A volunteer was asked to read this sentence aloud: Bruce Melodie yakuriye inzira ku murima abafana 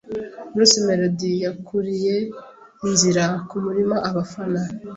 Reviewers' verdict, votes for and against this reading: accepted, 2, 0